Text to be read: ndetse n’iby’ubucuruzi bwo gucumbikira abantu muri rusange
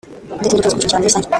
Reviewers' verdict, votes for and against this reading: rejected, 0, 2